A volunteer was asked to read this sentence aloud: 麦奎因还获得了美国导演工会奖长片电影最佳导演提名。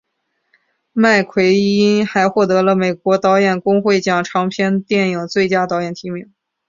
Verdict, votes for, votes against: accepted, 2, 0